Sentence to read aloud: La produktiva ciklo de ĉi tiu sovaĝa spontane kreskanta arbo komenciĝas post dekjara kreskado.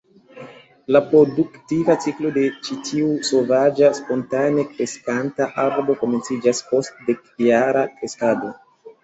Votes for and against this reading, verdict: 2, 0, accepted